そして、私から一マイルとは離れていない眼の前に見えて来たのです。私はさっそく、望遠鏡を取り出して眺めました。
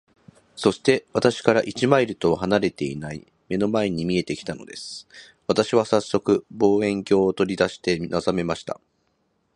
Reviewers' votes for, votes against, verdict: 0, 2, rejected